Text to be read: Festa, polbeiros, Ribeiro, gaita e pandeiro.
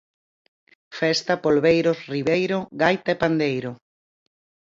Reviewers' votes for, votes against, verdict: 4, 0, accepted